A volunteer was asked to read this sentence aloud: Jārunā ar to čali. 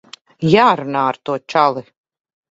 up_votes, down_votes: 3, 0